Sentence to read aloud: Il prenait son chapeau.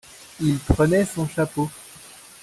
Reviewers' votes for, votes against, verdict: 2, 1, accepted